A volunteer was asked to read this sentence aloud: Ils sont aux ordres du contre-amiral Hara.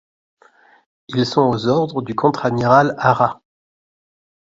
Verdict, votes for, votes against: accepted, 2, 0